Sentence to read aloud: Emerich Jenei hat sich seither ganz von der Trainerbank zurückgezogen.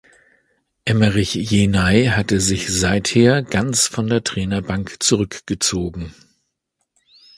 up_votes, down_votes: 1, 2